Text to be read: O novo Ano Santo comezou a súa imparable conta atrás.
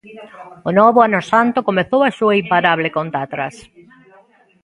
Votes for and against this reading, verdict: 1, 2, rejected